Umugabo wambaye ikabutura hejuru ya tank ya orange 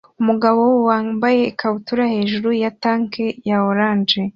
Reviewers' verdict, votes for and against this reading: accepted, 2, 0